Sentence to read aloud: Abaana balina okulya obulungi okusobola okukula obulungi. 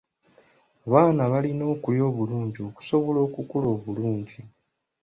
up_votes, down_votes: 2, 0